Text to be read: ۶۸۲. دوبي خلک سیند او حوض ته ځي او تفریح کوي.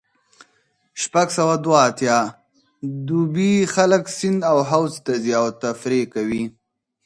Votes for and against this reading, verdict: 0, 2, rejected